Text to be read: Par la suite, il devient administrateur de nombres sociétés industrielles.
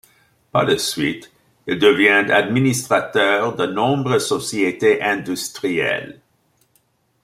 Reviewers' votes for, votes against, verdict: 2, 0, accepted